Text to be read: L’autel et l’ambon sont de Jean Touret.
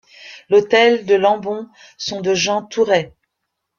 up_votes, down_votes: 1, 2